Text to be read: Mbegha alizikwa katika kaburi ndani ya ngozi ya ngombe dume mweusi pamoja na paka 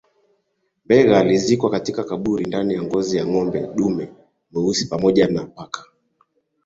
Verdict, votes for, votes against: accepted, 4, 0